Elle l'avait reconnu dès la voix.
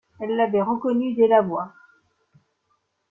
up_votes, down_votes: 2, 0